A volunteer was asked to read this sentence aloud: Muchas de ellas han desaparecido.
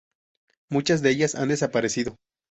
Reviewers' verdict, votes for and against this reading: accepted, 2, 0